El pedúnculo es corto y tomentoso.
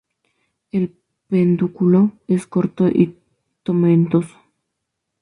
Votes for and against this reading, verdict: 2, 0, accepted